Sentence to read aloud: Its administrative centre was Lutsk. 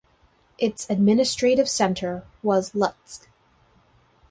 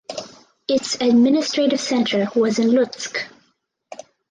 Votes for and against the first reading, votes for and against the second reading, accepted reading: 2, 0, 2, 4, first